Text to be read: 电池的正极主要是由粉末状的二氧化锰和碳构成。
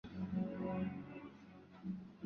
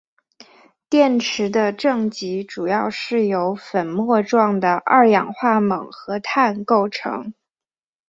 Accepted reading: second